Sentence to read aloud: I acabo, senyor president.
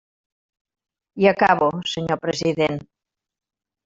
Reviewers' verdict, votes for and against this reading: accepted, 3, 0